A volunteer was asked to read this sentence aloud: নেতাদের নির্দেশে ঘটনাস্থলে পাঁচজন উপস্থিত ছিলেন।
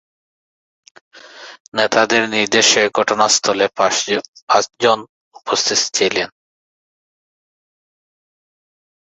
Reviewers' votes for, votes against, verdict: 0, 2, rejected